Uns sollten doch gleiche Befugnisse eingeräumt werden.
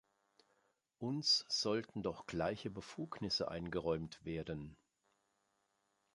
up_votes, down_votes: 2, 0